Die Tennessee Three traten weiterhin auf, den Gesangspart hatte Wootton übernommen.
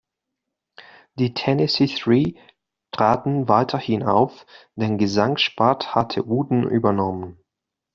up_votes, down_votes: 2, 0